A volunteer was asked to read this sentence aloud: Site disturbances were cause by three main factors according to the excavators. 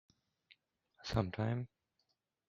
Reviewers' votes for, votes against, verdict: 0, 2, rejected